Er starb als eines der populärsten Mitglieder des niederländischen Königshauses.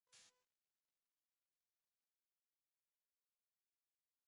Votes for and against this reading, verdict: 0, 2, rejected